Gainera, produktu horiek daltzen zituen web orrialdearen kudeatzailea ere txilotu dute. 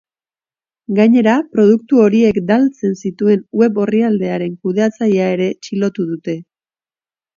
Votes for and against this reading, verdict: 2, 0, accepted